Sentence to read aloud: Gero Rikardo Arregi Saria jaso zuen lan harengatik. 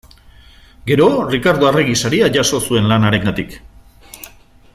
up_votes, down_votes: 2, 0